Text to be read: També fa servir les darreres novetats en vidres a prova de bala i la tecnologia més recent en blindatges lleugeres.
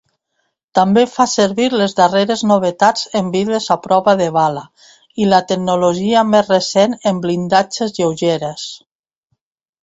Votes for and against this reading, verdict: 2, 0, accepted